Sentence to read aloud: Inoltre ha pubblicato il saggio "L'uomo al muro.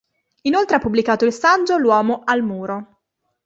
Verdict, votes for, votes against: accepted, 3, 0